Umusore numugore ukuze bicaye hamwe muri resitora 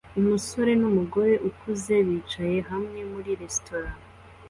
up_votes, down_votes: 2, 0